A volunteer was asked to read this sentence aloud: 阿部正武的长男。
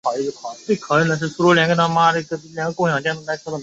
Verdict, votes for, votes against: rejected, 0, 5